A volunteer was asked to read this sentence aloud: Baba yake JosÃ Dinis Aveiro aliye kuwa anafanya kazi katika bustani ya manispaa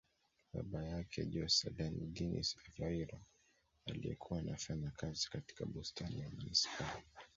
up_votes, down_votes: 0, 2